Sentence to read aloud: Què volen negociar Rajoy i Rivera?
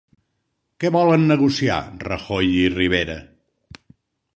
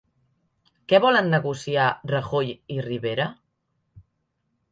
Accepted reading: second